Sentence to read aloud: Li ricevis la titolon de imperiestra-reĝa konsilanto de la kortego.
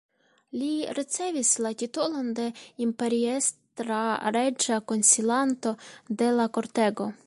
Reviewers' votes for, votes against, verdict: 2, 1, accepted